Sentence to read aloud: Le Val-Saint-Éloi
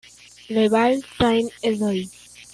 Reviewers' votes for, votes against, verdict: 1, 2, rejected